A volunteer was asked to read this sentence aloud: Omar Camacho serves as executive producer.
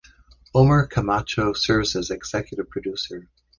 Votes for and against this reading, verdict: 2, 0, accepted